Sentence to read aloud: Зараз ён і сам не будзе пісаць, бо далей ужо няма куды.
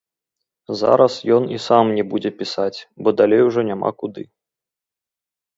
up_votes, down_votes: 1, 3